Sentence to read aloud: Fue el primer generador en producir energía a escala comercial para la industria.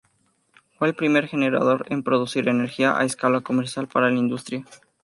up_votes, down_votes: 2, 0